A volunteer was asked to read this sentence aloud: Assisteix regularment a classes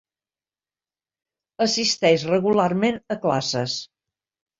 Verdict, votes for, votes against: accepted, 4, 0